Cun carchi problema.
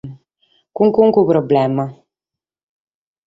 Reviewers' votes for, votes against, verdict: 4, 0, accepted